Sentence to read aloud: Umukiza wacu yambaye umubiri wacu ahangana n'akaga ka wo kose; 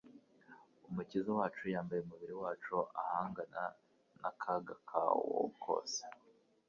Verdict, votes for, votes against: accepted, 2, 0